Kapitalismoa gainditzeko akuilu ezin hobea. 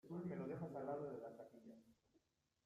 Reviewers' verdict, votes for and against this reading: rejected, 0, 2